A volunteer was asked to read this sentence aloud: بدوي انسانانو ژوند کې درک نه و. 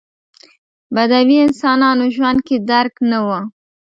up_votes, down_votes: 2, 0